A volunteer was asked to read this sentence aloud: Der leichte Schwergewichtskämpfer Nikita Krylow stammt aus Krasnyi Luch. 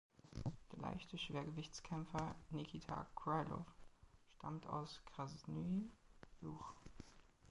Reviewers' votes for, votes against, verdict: 0, 3, rejected